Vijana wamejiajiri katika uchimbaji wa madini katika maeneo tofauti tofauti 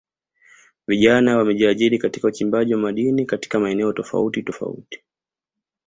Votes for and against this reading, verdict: 2, 0, accepted